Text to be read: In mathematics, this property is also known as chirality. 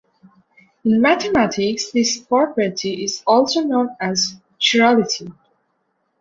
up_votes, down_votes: 2, 1